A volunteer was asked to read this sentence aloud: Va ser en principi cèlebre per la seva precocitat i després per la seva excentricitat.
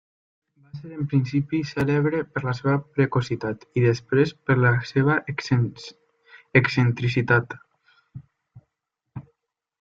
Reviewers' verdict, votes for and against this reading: rejected, 0, 2